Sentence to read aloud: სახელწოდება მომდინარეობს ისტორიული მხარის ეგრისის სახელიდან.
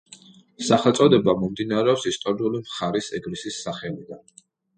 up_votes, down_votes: 2, 0